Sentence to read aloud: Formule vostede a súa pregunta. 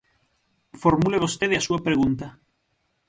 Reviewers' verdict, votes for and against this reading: accepted, 6, 0